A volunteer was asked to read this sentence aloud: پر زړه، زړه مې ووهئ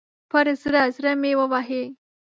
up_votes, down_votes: 0, 2